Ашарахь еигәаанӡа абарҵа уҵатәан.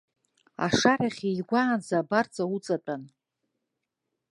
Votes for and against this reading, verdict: 4, 0, accepted